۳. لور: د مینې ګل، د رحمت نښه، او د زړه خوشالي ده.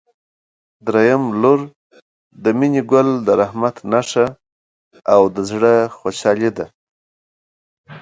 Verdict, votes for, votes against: rejected, 0, 2